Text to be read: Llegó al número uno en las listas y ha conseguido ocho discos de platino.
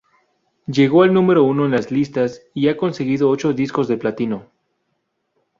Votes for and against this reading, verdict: 2, 0, accepted